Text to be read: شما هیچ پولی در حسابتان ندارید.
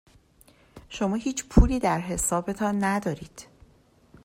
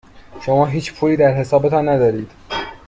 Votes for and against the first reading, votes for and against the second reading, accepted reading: 2, 0, 1, 2, first